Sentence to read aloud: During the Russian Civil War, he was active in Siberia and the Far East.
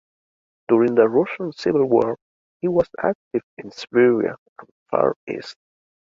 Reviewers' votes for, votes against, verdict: 2, 3, rejected